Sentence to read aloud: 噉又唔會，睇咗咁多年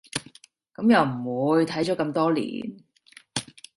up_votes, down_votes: 2, 0